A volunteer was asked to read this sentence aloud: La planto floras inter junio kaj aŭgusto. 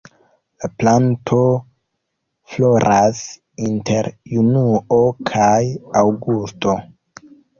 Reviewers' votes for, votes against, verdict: 0, 2, rejected